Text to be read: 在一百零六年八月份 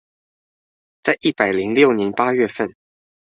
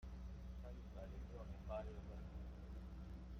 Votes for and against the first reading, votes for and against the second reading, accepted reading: 2, 0, 0, 2, first